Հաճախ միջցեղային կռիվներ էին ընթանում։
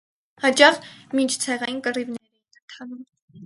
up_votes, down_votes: 0, 4